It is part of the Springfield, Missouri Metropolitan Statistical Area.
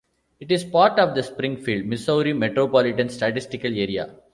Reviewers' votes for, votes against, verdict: 2, 0, accepted